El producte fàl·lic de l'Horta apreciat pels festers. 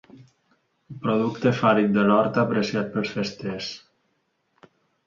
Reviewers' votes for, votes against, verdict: 1, 2, rejected